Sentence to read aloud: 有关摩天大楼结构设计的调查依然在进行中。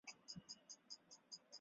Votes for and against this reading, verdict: 1, 4, rejected